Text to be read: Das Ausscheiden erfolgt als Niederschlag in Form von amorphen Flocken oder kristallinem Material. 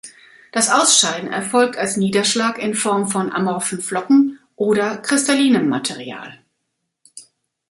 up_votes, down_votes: 3, 0